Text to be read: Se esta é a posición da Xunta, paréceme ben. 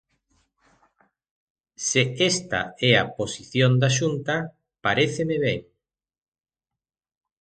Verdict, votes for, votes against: accepted, 3, 1